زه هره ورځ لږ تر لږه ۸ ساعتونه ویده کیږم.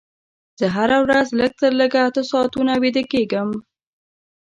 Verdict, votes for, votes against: rejected, 0, 2